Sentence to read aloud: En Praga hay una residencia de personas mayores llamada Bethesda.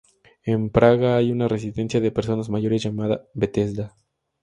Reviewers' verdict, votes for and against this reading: accepted, 2, 0